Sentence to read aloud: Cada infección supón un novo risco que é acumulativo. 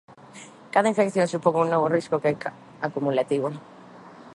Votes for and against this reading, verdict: 0, 2, rejected